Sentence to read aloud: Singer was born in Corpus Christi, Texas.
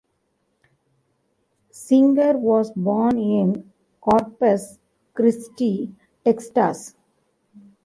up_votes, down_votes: 0, 2